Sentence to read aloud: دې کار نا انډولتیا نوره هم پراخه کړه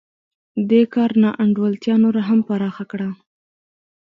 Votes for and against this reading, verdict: 2, 0, accepted